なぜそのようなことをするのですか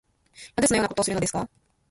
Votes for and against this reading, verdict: 2, 1, accepted